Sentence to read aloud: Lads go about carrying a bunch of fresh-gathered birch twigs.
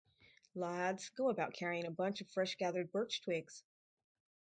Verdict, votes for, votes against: rejected, 2, 2